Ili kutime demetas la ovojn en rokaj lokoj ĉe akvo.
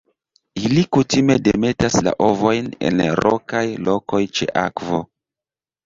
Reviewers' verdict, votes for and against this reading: accepted, 2, 1